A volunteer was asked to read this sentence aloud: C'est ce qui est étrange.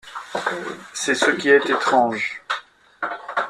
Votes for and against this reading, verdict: 2, 0, accepted